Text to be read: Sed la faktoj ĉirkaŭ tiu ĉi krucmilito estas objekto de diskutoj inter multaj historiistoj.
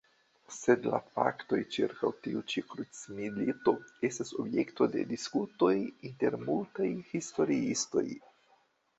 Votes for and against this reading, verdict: 2, 1, accepted